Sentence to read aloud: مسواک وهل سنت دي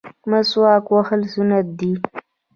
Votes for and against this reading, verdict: 1, 2, rejected